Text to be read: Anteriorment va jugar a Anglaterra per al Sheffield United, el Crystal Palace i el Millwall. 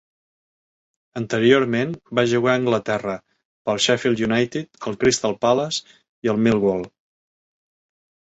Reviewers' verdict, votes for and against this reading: rejected, 1, 2